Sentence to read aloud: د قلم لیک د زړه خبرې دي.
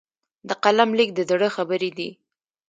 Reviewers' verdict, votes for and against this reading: rejected, 1, 2